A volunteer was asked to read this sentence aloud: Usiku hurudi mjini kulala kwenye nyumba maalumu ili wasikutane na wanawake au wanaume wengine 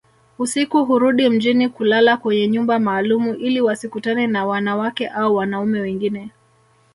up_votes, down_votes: 1, 2